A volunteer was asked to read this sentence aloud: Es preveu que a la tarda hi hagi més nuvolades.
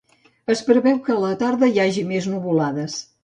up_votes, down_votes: 2, 0